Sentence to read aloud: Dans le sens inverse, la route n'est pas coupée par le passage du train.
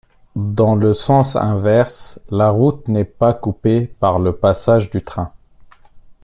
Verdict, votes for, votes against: accepted, 2, 1